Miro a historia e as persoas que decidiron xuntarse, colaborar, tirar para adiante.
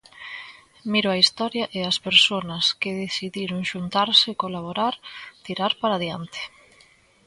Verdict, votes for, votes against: rejected, 1, 2